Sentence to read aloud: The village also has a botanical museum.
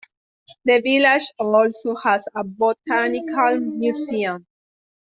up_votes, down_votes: 2, 0